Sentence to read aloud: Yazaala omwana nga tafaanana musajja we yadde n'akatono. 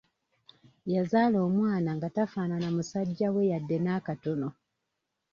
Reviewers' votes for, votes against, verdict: 2, 0, accepted